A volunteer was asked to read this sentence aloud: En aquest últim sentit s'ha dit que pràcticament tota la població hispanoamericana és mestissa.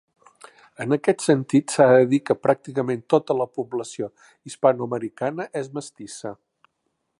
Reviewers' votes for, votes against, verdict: 2, 1, accepted